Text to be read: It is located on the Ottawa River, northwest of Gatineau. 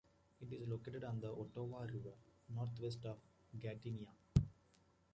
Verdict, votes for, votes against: rejected, 0, 2